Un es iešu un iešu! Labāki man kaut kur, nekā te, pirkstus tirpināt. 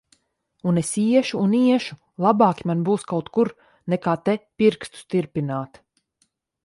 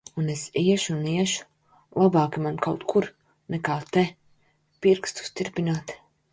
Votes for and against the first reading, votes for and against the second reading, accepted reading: 0, 2, 3, 0, second